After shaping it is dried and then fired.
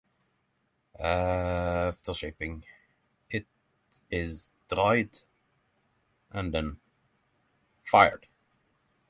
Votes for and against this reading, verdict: 3, 3, rejected